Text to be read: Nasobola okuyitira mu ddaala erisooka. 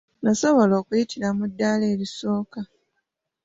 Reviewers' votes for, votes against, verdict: 2, 0, accepted